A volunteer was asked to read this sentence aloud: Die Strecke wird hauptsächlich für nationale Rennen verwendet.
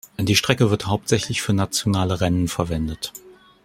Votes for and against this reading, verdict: 2, 0, accepted